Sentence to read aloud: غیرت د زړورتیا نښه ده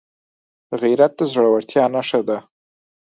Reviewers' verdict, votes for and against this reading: accepted, 4, 0